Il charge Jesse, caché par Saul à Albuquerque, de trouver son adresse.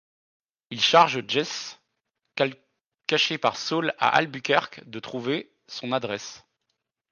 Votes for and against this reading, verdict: 1, 2, rejected